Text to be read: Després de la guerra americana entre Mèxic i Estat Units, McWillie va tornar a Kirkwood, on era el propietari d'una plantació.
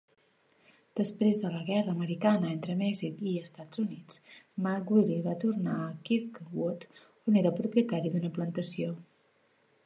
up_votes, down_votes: 2, 0